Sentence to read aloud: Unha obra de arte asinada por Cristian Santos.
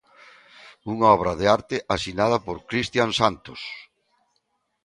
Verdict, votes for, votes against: accepted, 2, 0